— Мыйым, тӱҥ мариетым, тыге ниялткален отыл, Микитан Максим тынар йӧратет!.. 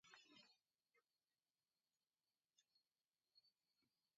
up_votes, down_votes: 0, 2